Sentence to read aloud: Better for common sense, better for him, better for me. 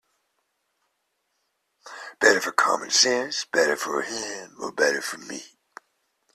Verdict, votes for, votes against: accepted, 2, 0